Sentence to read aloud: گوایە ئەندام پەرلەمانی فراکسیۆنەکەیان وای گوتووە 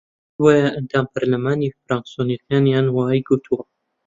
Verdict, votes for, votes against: rejected, 1, 2